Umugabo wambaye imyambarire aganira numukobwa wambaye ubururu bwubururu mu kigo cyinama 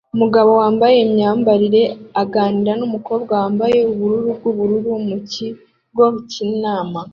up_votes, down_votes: 2, 0